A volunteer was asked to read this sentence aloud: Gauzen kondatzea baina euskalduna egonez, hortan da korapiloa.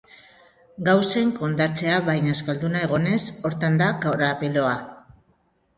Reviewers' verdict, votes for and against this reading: rejected, 0, 2